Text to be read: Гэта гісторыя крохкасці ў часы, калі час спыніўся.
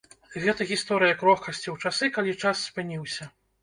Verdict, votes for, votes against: accepted, 2, 0